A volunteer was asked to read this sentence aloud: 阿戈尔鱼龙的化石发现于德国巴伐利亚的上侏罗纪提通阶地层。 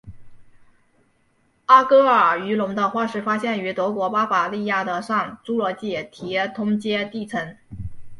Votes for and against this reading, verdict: 1, 2, rejected